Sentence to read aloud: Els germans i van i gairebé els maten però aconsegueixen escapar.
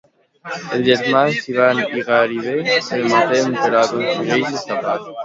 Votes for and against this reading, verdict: 0, 2, rejected